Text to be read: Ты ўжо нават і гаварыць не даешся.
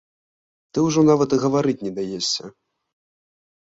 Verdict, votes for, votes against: accepted, 2, 0